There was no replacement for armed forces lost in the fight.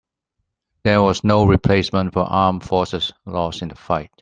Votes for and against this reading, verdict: 2, 0, accepted